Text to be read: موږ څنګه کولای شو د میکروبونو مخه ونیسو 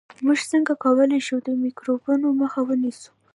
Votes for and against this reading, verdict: 1, 2, rejected